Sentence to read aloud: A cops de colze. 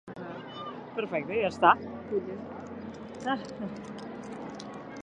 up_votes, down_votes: 2, 1